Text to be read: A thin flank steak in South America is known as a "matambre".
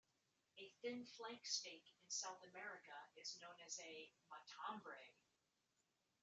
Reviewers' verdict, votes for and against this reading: rejected, 1, 2